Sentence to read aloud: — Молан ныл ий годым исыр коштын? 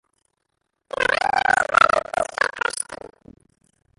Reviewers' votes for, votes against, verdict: 0, 2, rejected